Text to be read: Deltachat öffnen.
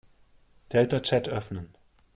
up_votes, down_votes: 2, 0